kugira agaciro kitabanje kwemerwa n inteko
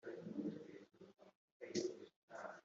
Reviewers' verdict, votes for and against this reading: rejected, 2, 3